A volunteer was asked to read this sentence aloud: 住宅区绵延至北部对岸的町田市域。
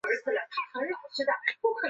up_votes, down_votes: 0, 2